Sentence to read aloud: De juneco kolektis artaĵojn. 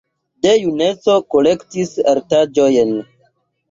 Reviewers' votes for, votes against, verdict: 2, 0, accepted